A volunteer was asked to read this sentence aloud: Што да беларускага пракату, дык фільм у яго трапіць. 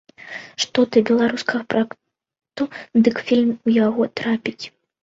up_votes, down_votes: 0, 2